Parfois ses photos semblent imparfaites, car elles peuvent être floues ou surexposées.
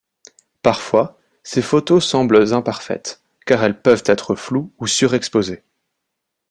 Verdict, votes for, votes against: accepted, 2, 0